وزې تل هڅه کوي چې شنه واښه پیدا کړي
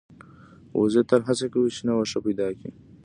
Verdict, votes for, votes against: accepted, 2, 0